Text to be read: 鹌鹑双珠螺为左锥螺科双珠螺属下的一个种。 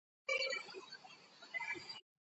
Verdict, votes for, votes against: rejected, 1, 3